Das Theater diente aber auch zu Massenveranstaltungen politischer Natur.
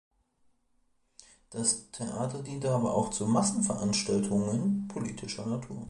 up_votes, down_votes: 2, 0